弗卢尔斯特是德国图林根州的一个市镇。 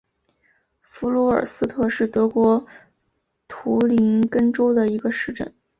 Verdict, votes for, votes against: accepted, 2, 0